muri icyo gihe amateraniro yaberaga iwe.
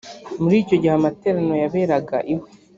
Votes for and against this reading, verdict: 2, 0, accepted